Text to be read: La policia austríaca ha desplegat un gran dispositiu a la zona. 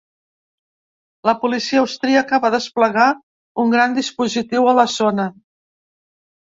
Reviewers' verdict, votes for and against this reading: rejected, 1, 2